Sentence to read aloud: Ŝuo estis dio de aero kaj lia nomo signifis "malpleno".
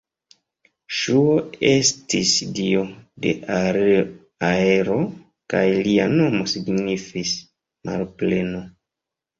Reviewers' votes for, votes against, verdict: 1, 2, rejected